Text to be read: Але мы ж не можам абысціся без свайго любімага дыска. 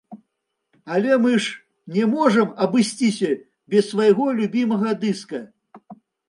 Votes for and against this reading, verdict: 2, 0, accepted